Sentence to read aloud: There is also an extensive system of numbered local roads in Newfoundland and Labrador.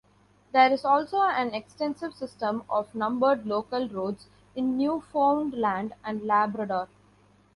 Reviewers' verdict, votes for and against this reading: accepted, 2, 0